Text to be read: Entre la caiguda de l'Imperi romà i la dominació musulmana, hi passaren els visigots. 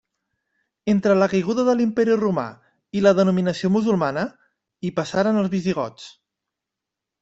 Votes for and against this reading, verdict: 1, 2, rejected